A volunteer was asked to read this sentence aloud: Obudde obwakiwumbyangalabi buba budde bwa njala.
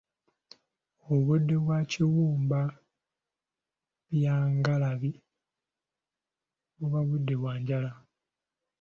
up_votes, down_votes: 0, 2